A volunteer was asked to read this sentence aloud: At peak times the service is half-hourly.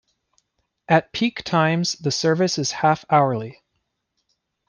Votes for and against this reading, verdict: 2, 0, accepted